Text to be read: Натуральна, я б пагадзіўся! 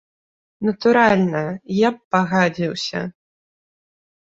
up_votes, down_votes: 1, 2